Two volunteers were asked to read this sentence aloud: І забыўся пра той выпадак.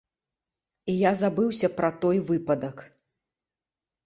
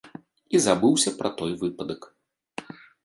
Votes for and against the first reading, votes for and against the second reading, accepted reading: 0, 2, 2, 0, second